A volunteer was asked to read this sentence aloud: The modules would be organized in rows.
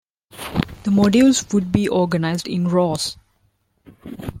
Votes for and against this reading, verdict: 2, 1, accepted